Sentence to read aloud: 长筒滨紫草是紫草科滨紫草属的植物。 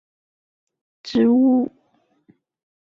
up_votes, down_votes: 1, 5